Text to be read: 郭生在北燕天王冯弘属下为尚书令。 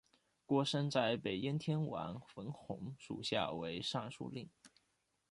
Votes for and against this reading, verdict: 0, 2, rejected